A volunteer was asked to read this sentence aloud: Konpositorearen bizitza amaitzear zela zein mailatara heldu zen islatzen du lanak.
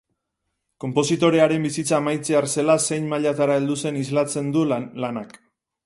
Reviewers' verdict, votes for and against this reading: rejected, 0, 2